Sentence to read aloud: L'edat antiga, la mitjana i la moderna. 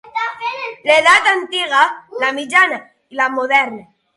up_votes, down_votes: 3, 6